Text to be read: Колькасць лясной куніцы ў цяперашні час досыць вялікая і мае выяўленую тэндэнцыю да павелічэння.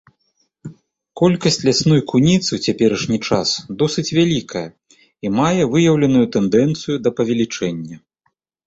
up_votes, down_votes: 2, 0